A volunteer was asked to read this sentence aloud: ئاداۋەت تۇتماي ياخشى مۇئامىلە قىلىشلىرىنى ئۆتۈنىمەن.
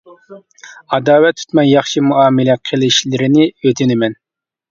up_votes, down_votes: 2, 1